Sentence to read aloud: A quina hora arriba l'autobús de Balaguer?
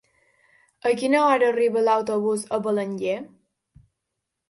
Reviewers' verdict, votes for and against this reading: rejected, 0, 2